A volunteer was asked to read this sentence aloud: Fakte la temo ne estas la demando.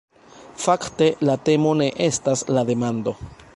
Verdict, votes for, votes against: accepted, 2, 0